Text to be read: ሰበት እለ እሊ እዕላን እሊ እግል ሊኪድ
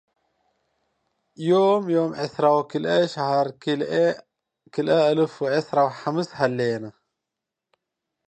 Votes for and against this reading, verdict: 1, 2, rejected